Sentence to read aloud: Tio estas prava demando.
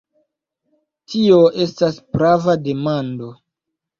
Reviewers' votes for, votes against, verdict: 2, 0, accepted